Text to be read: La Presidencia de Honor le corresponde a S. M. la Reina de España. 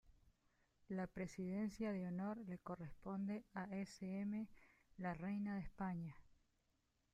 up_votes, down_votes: 3, 2